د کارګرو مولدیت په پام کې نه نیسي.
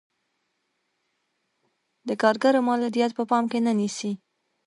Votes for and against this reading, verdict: 1, 2, rejected